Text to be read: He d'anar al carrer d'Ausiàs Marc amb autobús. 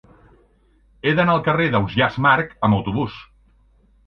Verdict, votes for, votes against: accepted, 2, 0